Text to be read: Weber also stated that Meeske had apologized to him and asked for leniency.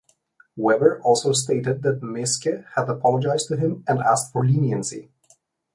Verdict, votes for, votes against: accepted, 2, 0